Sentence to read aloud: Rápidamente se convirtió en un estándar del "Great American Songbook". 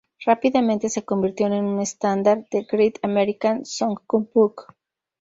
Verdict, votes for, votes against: rejected, 0, 2